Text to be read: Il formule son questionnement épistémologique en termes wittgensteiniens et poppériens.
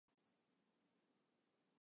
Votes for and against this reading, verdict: 0, 2, rejected